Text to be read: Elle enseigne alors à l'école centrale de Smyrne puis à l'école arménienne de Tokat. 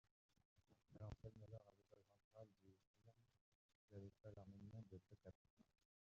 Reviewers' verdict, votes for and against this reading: rejected, 0, 2